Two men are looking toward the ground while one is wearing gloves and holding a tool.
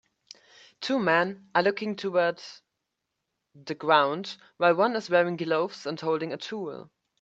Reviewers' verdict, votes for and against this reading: rejected, 0, 2